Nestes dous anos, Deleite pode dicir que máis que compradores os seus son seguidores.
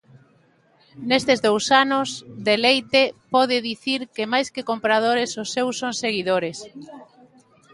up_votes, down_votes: 2, 0